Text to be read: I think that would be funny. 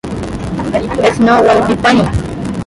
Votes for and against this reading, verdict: 0, 2, rejected